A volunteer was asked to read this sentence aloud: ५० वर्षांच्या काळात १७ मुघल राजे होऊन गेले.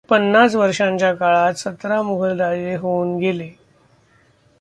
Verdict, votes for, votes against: rejected, 0, 2